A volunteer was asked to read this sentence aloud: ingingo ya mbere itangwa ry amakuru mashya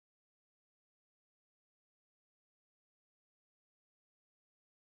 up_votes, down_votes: 1, 3